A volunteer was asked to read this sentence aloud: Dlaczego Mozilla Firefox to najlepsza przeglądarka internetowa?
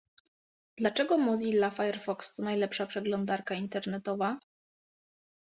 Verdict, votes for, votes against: accepted, 2, 0